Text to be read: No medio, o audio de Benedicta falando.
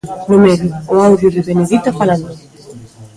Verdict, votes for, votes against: rejected, 0, 2